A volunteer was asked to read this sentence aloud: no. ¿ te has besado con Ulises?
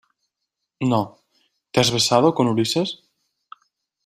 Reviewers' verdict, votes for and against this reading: accepted, 2, 0